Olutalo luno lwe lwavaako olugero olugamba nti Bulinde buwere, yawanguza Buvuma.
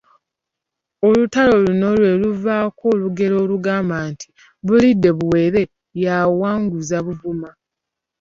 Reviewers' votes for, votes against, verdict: 1, 2, rejected